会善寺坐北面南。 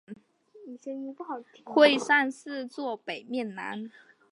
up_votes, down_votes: 5, 0